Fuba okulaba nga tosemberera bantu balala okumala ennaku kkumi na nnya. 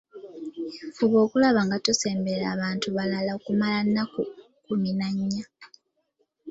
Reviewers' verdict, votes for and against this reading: rejected, 1, 2